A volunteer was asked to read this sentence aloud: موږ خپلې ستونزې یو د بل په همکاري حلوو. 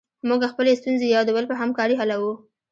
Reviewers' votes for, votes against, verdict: 0, 2, rejected